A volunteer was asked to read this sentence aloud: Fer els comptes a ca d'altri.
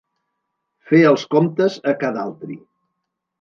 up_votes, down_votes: 2, 0